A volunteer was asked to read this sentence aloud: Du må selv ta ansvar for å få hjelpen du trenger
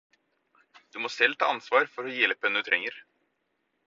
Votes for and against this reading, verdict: 2, 4, rejected